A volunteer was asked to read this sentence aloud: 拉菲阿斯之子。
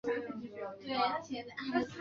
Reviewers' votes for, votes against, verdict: 2, 3, rejected